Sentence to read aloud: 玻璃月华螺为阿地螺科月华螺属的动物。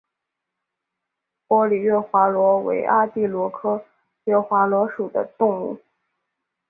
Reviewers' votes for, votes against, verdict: 2, 1, accepted